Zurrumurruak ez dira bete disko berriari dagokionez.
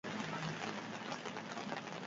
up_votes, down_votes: 0, 4